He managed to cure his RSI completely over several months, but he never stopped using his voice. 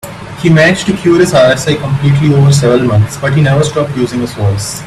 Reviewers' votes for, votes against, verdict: 2, 0, accepted